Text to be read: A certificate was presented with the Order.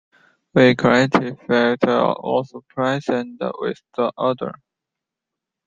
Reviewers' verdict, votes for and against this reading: rejected, 1, 2